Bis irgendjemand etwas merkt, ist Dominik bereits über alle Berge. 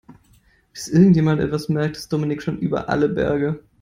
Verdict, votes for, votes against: rejected, 0, 2